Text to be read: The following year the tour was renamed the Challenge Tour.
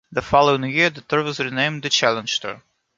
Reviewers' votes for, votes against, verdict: 1, 2, rejected